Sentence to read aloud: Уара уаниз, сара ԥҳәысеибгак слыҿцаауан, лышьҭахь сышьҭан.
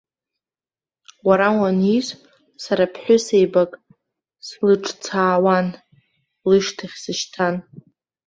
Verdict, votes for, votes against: rejected, 1, 2